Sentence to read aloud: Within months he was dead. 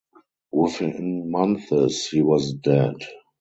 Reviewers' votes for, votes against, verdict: 0, 2, rejected